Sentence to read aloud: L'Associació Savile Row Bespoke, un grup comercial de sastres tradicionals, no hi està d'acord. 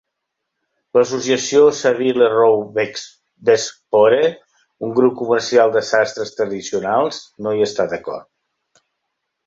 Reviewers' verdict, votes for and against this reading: rejected, 0, 2